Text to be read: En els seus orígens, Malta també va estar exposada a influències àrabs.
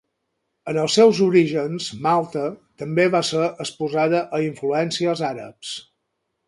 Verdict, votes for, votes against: rejected, 0, 4